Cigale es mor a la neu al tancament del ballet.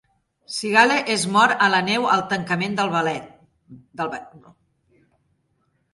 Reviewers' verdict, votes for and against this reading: rejected, 0, 2